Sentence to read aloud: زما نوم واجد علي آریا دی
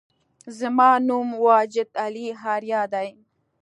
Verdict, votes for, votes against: accepted, 2, 1